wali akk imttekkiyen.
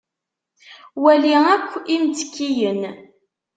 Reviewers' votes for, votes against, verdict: 2, 0, accepted